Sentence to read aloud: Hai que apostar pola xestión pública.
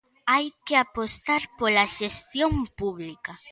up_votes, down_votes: 3, 0